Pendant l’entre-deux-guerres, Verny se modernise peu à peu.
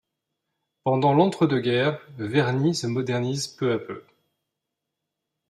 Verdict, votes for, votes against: accepted, 2, 0